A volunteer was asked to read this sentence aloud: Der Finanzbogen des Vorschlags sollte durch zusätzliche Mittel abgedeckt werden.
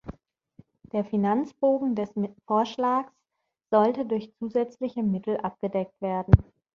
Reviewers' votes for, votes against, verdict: 0, 2, rejected